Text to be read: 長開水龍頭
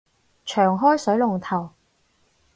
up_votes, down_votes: 4, 0